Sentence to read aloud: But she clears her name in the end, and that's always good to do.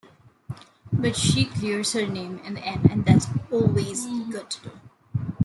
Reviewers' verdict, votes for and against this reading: rejected, 1, 2